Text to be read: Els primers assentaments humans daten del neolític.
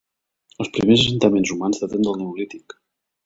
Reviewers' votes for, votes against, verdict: 1, 2, rejected